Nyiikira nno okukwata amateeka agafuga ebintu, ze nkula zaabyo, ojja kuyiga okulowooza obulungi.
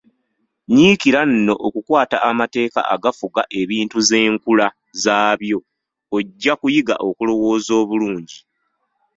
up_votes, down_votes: 1, 2